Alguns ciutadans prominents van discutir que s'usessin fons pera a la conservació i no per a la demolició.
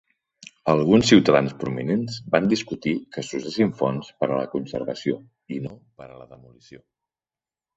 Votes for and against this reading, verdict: 4, 8, rejected